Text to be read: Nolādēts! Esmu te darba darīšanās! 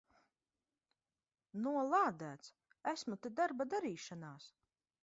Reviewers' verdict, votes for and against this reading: accepted, 2, 0